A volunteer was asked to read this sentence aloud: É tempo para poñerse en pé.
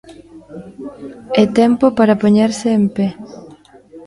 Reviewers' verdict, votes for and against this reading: rejected, 1, 2